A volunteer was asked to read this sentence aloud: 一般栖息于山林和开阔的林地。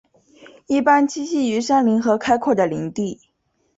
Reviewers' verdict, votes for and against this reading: accepted, 5, 0